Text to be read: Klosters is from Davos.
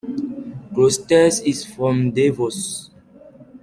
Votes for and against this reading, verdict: 2, 0, accepted